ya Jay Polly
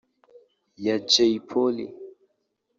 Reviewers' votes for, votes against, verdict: 1, 3, rejected